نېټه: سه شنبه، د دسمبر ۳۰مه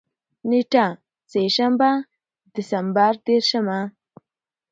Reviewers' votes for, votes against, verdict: 0, 2, rejected